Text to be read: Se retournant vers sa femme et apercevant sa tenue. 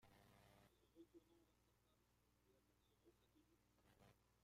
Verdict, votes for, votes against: rejected, 0, 2